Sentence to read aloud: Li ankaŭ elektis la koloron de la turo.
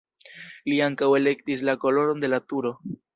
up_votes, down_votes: 2, 0